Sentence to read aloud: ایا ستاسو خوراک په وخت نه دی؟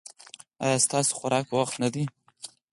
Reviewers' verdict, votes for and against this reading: accepted, 4, 2